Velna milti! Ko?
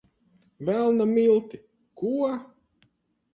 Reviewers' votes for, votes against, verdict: 2, 4, rejected